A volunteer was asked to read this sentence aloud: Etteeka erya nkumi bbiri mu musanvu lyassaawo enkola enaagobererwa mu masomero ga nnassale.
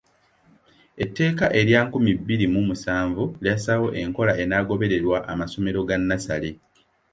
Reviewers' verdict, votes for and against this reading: rejected, 1, 2